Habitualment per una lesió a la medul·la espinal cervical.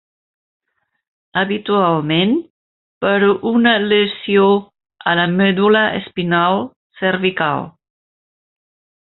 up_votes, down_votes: 2, 1